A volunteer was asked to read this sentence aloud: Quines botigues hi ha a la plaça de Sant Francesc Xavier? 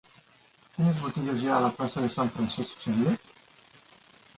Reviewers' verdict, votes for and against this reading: rejected, 0, 2